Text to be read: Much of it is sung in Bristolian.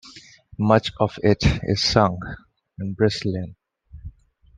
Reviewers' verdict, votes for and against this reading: accepted, 2, 0